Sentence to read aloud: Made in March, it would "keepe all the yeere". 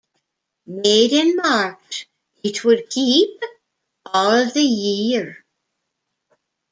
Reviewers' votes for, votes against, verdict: 3, 0, accepted